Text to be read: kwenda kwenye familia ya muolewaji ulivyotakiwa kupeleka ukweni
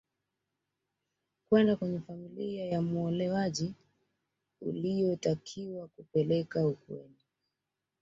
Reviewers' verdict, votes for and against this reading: rejected, 0, 2